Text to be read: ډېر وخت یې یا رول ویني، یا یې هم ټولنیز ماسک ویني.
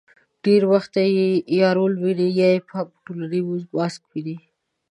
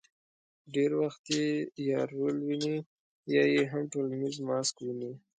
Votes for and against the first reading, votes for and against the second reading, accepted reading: 1, 2, 3, 0, second